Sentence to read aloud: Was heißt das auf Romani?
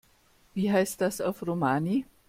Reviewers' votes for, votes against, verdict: 0, 2, rejected